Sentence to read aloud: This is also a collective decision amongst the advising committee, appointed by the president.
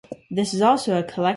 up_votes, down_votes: 0, 3